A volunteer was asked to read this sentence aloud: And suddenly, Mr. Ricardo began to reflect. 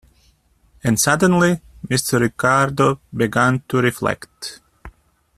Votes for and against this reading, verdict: 0, 2, rejected